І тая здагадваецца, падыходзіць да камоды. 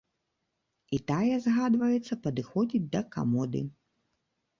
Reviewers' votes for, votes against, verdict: 1, 2, rejected